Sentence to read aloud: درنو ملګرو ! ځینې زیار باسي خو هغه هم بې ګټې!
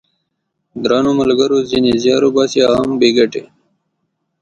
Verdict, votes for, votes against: accepted, 7, 1